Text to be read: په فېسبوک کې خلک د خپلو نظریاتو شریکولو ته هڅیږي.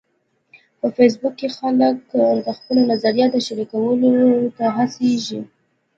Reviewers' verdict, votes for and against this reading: accepted, 2, 0